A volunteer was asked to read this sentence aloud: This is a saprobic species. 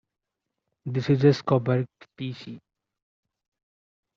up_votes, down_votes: 0, 2